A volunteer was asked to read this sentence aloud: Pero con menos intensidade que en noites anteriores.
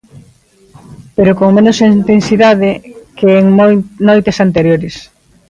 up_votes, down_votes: 0, 2